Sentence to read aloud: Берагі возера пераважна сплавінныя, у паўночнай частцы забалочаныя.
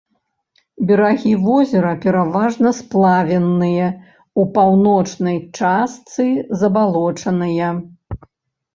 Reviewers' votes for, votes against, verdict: 1, 2, rejected